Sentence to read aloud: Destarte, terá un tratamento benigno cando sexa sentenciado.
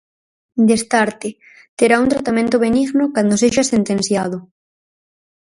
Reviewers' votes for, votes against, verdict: 4, 0, accepted